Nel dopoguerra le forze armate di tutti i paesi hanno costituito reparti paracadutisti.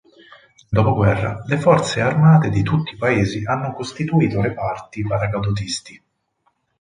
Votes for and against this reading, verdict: 2, 4, rejected